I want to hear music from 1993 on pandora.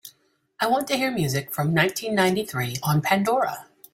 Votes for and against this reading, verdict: 0, 2, rejected